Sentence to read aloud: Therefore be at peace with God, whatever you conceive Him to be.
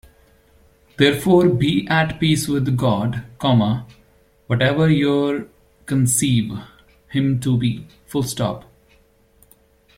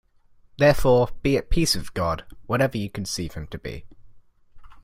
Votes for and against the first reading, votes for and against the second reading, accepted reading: 0, 2, 2, 0, second